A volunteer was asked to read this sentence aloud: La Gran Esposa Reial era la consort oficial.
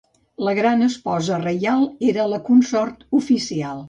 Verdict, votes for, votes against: accepted, 2, 0